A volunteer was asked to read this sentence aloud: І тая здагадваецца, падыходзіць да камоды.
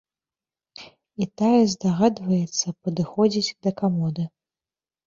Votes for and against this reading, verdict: 2, 0, accepted